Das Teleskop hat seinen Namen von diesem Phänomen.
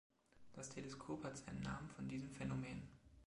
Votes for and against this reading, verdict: 2, 1, accepted